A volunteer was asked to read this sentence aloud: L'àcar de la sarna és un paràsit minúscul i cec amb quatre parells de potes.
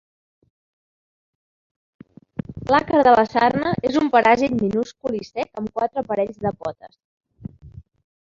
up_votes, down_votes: 0, 3